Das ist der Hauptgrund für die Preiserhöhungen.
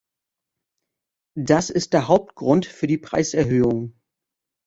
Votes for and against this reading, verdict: 2, 1, accepted